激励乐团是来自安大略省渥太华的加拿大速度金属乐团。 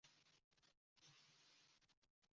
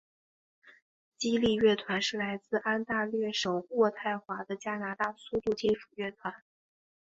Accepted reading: second